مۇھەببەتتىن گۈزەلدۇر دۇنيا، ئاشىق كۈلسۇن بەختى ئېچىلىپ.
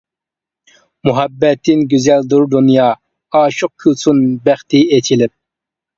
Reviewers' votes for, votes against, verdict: 2, 0, accepted